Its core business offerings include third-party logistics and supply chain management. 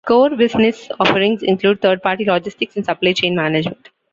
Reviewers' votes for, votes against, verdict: 0, 2, rejected